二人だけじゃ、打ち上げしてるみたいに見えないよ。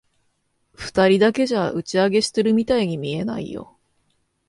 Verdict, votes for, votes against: rejected, 1, 2